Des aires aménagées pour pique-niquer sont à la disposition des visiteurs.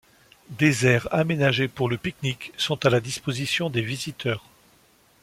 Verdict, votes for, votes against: rejected, 0, 2